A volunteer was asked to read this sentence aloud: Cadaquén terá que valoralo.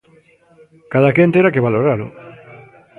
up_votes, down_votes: 1, 2